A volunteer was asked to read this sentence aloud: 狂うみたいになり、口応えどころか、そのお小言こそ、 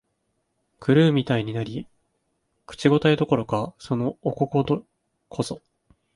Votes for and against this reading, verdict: 1, 2, rejected